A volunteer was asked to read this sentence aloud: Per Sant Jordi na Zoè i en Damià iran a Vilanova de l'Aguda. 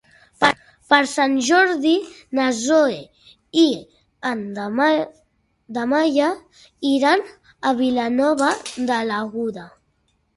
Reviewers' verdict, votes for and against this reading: rejected, 0, 2